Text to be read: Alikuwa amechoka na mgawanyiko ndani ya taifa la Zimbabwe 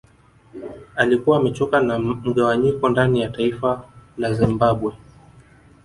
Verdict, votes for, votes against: accepted, 2, 0